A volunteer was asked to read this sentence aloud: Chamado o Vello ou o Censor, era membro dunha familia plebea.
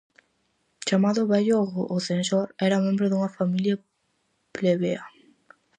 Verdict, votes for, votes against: rejected, 2, 2